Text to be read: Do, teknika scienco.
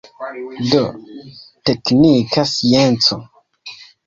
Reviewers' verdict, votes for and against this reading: rejected, 0, 2